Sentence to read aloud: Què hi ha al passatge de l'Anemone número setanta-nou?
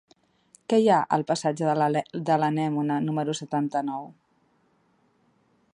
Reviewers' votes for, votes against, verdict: 1, 2, rejected